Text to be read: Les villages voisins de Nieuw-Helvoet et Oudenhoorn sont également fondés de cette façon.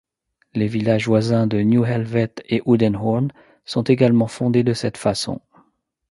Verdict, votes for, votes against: accepted, 2, 0